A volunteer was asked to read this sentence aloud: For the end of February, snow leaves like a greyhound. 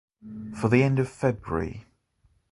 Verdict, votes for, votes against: rejected, 0, 2